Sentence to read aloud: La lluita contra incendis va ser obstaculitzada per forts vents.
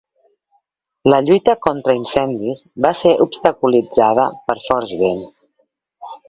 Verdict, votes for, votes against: accepted, 2, 0